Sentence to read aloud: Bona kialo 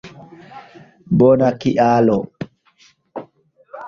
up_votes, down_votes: 2, 1